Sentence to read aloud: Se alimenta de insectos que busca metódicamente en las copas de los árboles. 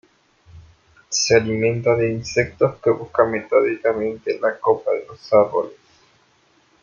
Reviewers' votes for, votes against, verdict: 0, 2, rejected